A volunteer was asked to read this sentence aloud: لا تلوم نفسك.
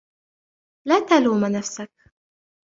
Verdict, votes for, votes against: accepted, 2, 0